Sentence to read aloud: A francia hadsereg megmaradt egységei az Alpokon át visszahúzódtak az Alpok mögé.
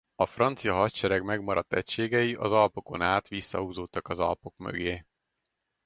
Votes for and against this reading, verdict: 4, 0, accepted